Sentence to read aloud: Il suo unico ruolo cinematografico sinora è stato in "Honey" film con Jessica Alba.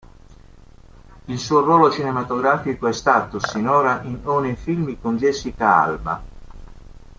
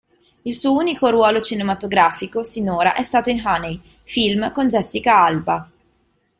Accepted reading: second